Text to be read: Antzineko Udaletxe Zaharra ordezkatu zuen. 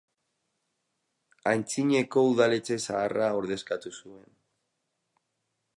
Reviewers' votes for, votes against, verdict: 4, 2, accepted